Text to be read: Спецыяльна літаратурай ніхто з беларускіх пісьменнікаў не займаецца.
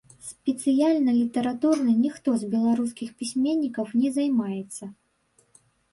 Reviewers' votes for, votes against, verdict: 1, 2, rejected